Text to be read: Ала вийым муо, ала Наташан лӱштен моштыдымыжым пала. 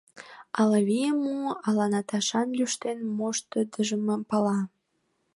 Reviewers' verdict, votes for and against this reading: rejected, 0, 2